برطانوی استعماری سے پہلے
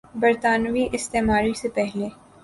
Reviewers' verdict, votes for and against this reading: accepted, 2, 0